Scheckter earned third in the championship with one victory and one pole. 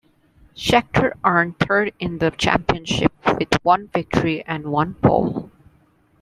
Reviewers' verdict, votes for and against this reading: accepted, 2, 1